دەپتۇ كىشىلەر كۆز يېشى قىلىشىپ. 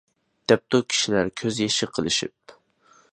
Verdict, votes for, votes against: accepted, 2, 0